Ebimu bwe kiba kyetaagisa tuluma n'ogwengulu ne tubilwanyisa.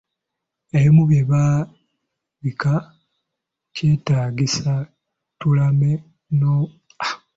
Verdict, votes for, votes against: rejected, 0, 2